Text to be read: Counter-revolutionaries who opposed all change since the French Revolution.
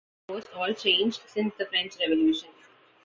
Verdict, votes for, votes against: rejected, 0, 2